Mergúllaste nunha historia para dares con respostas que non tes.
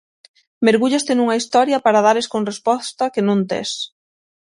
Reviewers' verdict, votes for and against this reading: rejected, 0, 6